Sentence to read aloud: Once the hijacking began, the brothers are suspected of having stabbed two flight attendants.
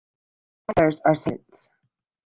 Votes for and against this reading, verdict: 0, 2, rejected